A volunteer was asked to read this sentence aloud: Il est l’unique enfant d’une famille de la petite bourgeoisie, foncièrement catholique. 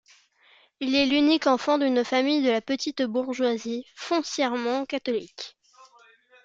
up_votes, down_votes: 2, 0